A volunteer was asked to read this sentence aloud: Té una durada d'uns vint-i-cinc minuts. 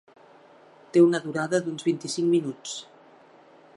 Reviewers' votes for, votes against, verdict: 2, 0, accepted